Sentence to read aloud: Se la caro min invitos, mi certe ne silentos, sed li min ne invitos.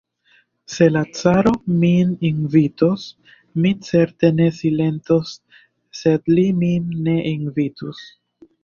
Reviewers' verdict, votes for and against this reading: rejected, 0, 2